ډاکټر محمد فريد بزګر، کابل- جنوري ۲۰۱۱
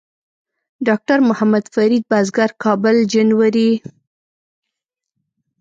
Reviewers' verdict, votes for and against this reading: rejected, 0, 2